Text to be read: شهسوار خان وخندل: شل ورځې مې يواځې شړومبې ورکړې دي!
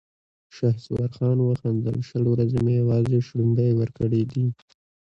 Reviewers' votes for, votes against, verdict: 0, 2, rejected